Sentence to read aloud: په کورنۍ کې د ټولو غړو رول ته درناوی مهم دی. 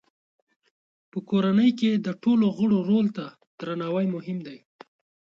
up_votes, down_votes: 2, 0